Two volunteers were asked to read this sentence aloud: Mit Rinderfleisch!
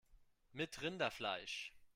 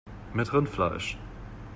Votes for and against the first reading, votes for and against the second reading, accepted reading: 2, 0, 1, 2, first